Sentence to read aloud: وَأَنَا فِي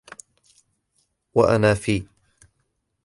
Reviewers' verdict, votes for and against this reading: accepted, 2, 0